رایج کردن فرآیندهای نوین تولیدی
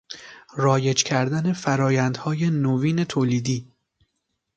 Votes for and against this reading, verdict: 2, 0, accepted